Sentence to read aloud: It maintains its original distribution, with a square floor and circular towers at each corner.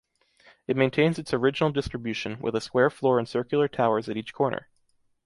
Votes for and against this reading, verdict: 2, 0, accepted